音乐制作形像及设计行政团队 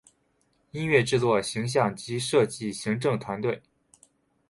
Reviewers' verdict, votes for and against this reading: accepted, 2, 0